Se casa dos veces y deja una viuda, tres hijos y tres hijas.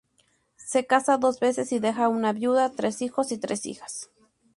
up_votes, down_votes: 2, 0